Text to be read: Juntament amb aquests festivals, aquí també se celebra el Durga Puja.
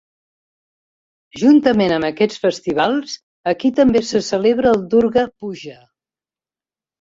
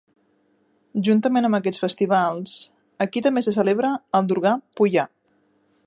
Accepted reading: first